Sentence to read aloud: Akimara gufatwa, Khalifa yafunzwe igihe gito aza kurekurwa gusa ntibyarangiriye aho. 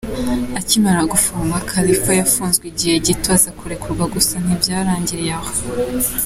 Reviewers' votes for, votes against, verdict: 2, 0, accepted